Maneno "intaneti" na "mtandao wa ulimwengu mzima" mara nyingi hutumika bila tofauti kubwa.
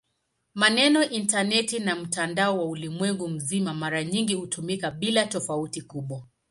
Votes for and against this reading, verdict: 3, 0, accepted